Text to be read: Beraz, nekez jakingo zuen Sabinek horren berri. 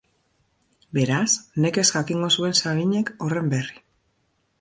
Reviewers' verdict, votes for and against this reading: rejected, 1, 2